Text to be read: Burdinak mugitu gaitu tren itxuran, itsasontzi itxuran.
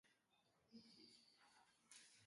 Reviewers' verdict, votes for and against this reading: rejected, 0, 5